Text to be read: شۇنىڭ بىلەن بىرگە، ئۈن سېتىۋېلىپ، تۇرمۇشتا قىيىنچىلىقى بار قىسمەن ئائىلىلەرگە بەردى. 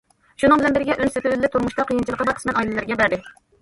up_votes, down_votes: 0, 2